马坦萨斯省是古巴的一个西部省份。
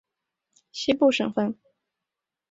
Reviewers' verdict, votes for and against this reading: rejected, 0, 2